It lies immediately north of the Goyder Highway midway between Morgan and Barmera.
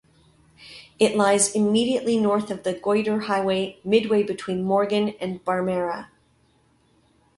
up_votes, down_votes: 2, 0